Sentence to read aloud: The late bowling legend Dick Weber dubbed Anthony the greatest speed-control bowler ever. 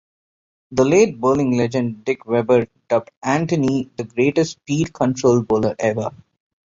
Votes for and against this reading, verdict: 2, 0, accepted